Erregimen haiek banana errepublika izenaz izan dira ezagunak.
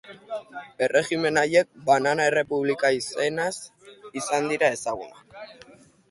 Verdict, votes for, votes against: accepted, 2, 0